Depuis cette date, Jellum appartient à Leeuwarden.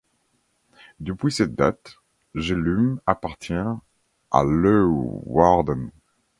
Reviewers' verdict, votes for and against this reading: accepted, 2, 0